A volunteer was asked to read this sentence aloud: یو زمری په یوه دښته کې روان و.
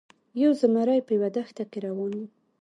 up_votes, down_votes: 2, 1